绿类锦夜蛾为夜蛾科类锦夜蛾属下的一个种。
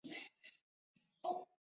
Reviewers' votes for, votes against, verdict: 0, 2, rejected